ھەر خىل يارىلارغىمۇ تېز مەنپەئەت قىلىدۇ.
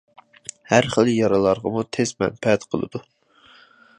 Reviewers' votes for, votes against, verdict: 2, 0, accepted